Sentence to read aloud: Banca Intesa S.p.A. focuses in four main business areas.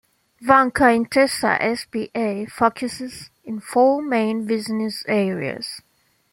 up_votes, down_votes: 0, 2